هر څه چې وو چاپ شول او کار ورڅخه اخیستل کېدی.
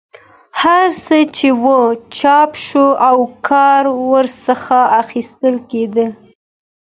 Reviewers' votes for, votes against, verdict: 2, 0, accepted